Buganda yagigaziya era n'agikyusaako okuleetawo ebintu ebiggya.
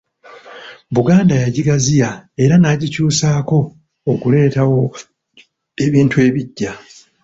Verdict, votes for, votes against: accepted, 2, 1